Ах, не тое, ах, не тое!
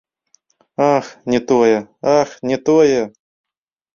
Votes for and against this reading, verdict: 0, 2, rejected